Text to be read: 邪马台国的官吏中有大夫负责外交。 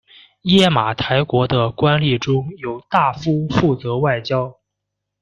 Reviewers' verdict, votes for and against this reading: rejected, 1, 2